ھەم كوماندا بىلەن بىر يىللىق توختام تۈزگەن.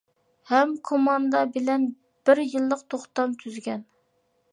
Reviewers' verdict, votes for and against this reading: accepted, 2, 0